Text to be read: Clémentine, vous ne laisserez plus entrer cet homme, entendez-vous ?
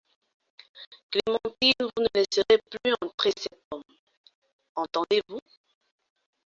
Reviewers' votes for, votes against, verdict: 2, 1, accepted